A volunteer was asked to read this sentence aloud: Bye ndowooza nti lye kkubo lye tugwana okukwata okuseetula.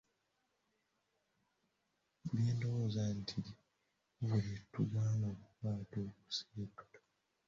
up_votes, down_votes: 0, 2